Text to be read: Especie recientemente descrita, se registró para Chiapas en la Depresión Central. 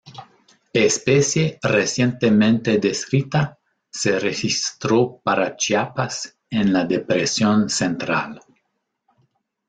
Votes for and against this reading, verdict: 1, 2, rejected